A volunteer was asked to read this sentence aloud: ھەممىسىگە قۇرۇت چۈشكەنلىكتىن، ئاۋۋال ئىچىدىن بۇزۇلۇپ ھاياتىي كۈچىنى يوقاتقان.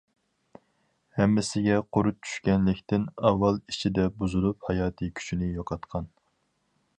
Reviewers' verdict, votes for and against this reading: rejected, 0, 4